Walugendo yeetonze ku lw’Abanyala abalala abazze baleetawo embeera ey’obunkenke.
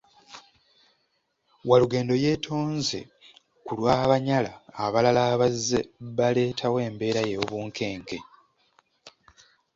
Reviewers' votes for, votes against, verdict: 2, 0, accepted